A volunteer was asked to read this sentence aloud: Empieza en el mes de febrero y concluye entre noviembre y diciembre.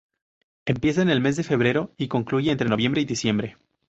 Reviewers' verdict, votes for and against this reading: rejected, 0, 2